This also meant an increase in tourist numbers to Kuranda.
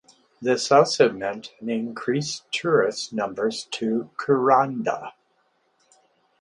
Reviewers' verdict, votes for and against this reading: rejected, 0, 4